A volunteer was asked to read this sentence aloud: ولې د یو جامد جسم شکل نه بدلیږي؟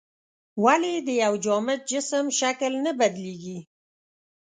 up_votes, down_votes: 6, 0